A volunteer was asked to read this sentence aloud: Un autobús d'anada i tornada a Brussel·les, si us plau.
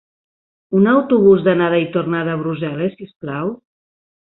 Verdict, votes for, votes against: accepted, 4, 0